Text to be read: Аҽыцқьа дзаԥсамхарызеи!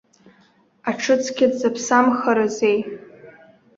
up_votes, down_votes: 2, 0